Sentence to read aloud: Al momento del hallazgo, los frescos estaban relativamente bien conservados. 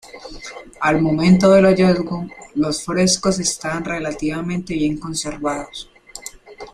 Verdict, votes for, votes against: rejected, 0, 2